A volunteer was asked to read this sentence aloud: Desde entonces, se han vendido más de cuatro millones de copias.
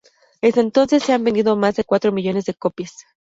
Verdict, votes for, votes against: rejected, 0, 2